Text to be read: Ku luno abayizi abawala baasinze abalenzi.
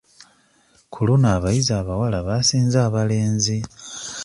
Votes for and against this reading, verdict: 0, 2, rejected